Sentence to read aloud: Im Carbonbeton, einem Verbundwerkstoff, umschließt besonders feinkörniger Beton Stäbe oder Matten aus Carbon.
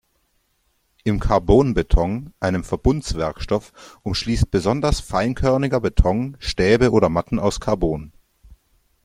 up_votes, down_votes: 1, 2